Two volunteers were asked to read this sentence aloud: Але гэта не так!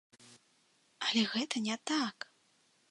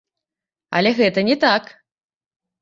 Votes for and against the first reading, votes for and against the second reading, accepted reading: 2, 0, 0, 2, first